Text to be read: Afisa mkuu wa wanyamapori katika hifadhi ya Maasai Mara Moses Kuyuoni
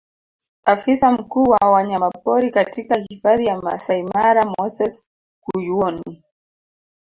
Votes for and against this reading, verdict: 2, 1, accepted